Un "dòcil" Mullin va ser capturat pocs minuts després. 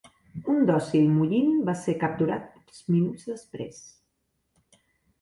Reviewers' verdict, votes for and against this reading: rejected, 1, 3